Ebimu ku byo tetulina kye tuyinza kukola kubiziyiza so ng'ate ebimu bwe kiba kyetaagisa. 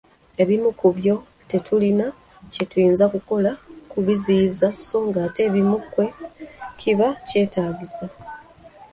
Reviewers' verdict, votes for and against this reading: rejected, 1, 2